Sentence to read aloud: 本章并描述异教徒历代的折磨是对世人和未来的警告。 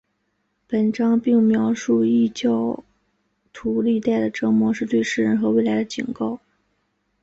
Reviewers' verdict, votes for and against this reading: accepted, 6, 2